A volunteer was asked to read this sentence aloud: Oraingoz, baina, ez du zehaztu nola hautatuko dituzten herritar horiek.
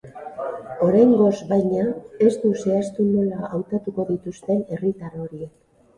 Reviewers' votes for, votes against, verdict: 2, 0, accepted